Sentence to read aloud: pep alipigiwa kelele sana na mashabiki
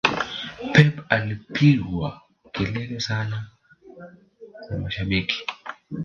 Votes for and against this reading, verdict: 0, 2, rejected